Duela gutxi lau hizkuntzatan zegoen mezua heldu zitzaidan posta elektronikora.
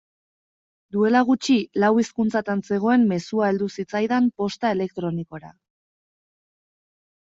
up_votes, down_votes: 2, 0